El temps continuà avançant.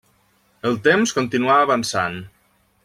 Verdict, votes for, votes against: accepted, 3, 1